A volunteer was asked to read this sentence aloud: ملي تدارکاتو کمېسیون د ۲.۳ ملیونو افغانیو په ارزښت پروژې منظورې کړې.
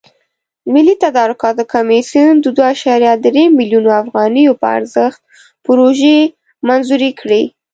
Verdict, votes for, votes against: rejected, 0, 2